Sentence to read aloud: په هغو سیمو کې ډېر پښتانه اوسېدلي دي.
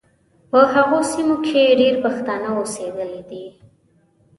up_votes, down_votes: 2, 0